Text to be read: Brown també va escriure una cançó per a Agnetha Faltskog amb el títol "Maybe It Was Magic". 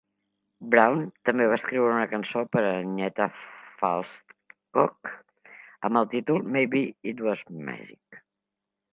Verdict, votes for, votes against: rejected, 1, 2